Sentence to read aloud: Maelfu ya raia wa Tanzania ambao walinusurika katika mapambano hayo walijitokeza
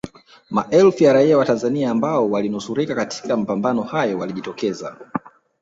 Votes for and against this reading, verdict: 0, 2, rejected